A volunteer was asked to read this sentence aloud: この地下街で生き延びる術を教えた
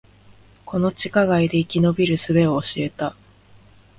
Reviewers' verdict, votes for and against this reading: accepted, 3, 0